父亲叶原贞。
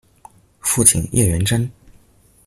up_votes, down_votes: 2, 0